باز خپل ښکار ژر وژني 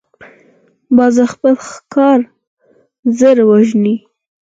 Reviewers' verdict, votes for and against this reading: rejected, 0, 4